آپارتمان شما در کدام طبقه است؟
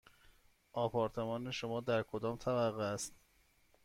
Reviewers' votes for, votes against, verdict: 2, 0, accepted